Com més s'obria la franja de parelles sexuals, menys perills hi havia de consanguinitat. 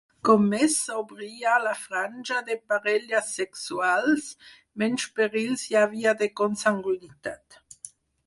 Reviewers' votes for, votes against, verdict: 2, 4, rejected